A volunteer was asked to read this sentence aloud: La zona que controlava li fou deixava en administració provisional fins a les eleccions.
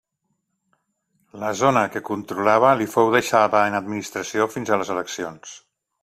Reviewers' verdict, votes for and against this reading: rejected, 0, 2